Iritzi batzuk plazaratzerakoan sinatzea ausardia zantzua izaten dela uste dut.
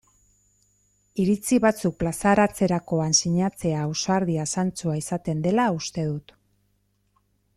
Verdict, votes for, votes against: accepted, 2, 0